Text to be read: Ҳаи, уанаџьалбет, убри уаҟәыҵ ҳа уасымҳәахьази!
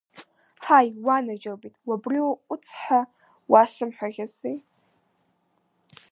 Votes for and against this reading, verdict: 1, 2, rejected